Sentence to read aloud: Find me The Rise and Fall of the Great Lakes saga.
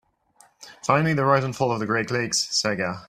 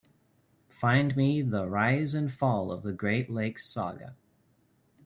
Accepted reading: second